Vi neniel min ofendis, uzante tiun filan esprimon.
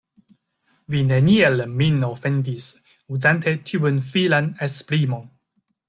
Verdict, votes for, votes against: accepted, 2, 0